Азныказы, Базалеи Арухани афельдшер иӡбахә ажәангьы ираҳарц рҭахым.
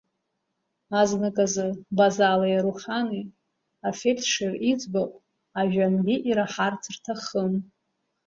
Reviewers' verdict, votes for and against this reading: rejected, 1, 2